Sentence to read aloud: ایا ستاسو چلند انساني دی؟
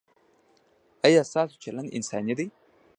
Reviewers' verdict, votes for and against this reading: rejected, 0, 2